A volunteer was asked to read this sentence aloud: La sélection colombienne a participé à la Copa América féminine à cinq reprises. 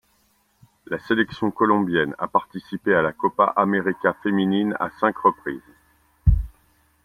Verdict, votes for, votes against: accepted, 2, 0